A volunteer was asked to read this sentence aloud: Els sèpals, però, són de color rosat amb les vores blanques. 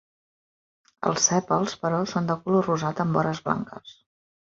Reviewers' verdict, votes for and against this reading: rejected, 1, 2